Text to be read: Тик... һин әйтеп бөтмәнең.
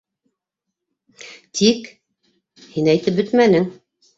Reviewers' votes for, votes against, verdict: 2, 0, accepted